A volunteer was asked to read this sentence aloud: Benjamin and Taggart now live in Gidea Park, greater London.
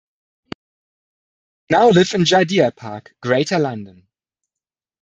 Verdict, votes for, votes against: rejected, 0, 2